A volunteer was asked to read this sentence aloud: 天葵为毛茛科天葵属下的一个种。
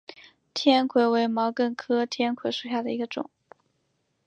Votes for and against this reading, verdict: 2, 1, accepted